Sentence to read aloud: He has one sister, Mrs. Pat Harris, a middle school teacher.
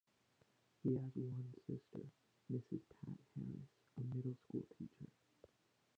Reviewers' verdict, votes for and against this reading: rejected, 0, 2